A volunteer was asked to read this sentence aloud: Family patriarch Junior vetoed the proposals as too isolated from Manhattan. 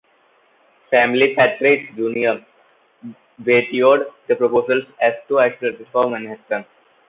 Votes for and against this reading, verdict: 2, 1, accepted